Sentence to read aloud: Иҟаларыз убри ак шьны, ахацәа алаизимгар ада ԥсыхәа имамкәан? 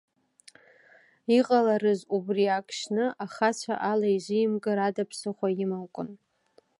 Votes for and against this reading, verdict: 2, 0, accepted